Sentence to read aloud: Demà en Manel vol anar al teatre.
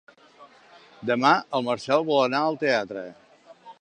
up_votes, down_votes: 1, 3